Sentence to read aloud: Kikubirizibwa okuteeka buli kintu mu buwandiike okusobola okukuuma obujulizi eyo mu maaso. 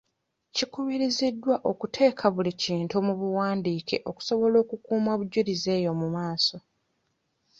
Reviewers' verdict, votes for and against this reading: rejected, 1, 2